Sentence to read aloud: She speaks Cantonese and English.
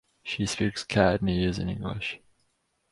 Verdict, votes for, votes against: rejected, 2, 2